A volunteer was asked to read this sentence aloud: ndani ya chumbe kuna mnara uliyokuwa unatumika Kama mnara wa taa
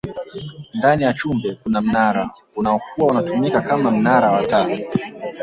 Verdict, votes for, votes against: accepted, 2, 1